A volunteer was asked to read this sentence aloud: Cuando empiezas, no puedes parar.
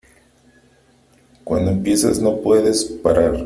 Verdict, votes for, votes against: accepted, 2, 0